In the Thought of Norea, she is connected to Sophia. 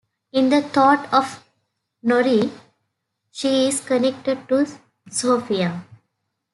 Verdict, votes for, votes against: rejected, 0, 2